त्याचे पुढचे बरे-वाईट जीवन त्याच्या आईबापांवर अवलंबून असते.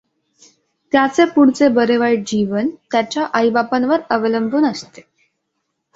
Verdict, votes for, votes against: accepted, 2, 0